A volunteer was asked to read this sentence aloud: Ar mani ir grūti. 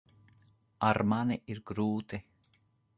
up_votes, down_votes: 2, 0